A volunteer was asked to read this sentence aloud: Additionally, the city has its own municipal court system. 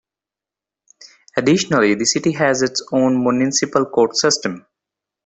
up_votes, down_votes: 2, 0